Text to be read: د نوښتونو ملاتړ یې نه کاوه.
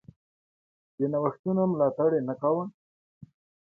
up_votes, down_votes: 2, 0